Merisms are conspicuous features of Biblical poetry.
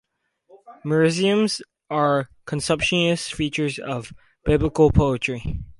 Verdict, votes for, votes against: rejected, 2, 4